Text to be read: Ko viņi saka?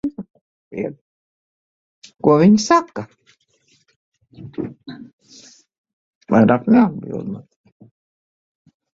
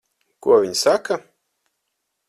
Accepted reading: second